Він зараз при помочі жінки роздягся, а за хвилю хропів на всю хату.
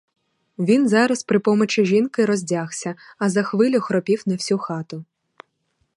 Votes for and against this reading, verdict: 2, 2, rejected